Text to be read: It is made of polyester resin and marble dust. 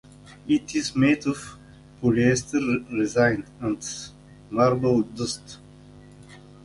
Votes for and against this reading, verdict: 0, 2, rejected